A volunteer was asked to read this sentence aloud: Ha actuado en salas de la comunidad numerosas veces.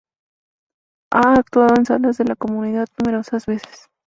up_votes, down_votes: 0, 2